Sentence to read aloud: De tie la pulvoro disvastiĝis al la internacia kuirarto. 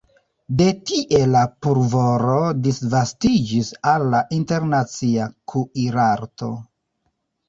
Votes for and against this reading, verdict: 1, 2, rejected